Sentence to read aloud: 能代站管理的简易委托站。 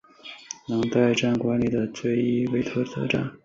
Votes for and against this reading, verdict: 1, 2, rejected